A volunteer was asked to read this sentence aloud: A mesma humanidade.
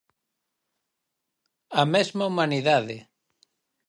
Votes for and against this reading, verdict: 4, 0, accepted